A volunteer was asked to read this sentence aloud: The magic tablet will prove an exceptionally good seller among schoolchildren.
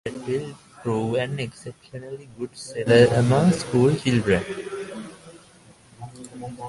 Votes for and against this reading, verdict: 0, 2, rejected